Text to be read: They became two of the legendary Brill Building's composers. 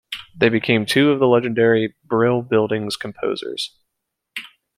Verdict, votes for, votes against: accepted, 2, 0